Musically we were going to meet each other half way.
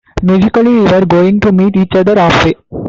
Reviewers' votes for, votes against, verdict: 2, 1, accepted